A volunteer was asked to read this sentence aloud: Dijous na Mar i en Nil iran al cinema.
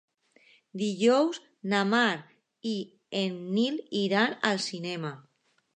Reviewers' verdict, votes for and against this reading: accepted, 2, 0